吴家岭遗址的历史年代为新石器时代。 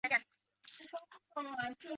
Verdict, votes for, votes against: rejected, 1, 2